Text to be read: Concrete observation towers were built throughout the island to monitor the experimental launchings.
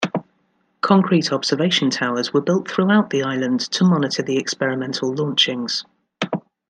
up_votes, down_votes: 2, 1